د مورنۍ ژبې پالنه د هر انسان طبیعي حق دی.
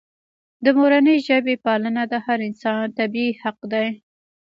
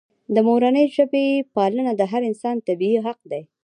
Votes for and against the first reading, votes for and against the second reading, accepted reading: 2, 0, 0, 2, first